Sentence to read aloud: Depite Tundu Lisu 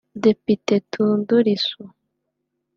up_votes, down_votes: 1, 2